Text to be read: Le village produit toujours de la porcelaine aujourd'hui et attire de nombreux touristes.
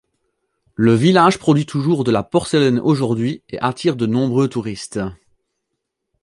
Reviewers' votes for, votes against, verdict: 2, 0, accepted